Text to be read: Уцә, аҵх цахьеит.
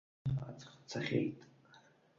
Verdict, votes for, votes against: rejected, 0, 2